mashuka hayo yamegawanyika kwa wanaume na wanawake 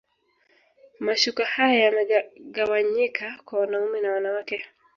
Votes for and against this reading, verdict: 1, 2, rejected